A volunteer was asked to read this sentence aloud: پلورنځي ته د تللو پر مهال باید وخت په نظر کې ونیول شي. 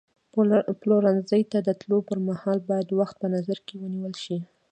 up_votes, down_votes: 1, 2